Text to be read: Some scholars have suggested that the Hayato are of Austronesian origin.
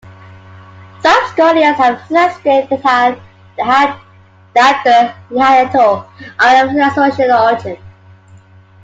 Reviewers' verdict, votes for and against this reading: rejected, 0, 2